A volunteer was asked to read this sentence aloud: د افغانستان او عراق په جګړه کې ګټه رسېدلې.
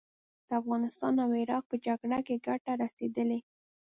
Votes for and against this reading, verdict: 1, 2, rejected